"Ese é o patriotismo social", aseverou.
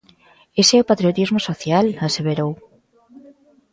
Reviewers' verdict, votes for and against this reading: accepted, 2, 0